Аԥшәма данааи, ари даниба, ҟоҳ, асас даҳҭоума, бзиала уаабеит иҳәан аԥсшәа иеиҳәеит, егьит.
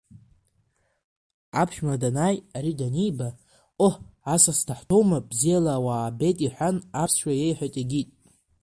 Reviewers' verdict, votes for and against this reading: accepted, 2, 0